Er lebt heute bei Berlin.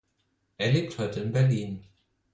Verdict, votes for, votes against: rejected, 2, 4